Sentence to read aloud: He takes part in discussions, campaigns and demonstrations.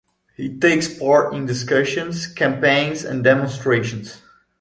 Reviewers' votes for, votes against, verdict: 2, 0, accepted